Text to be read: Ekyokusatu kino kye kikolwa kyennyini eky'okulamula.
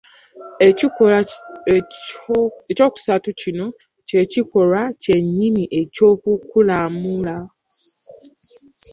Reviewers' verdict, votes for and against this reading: rejected, 0, 2